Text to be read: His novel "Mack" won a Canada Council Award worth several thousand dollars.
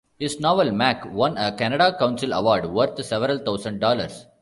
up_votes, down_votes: 1, 2